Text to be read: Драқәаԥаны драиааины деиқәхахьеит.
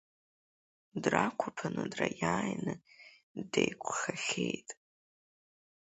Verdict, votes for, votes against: accepted, 2, 0